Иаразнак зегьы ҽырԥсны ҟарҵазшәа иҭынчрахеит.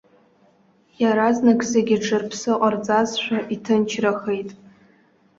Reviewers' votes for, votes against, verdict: 2, 0, accepted